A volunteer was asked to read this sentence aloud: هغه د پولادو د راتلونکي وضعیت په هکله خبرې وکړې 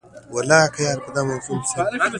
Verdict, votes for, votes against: accepted, 3, 1